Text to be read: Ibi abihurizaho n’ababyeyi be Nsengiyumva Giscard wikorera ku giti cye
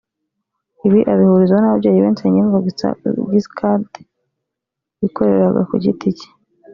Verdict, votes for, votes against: rejected, 0, 2